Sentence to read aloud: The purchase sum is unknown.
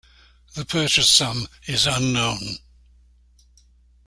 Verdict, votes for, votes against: accepted, 2, 0